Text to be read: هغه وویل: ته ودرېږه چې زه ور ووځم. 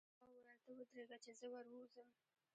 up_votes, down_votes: 1, 2